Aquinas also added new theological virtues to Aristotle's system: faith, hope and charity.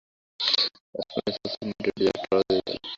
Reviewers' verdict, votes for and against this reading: rejected, 0, 2